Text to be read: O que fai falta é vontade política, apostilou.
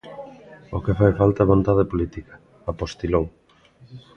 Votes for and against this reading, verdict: 0, 2, rejected